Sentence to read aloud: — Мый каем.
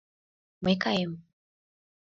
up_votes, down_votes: 2, 0